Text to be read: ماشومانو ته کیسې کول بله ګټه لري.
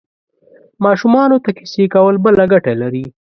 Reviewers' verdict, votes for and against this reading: accepted, 2, 0